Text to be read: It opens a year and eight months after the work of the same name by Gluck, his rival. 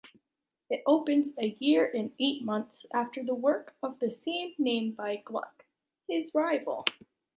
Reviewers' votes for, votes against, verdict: 2, 0, accepted